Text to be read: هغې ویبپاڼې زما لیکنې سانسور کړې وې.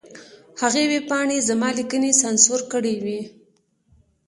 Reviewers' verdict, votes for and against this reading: accepted, 2, 0